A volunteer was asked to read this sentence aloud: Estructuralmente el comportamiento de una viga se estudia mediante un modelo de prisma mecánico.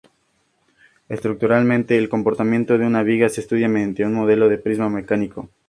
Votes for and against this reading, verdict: 2, 0, accepted